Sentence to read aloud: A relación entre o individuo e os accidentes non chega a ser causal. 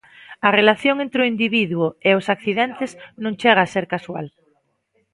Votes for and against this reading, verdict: 1, 2, rejected